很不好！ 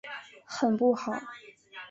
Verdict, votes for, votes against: accepted, 4, 0